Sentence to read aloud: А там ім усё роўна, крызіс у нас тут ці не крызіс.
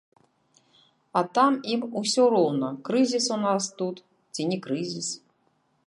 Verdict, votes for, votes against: rejected, 1, 2